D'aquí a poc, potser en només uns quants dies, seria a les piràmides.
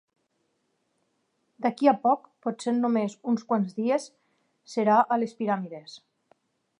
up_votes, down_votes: 0, 4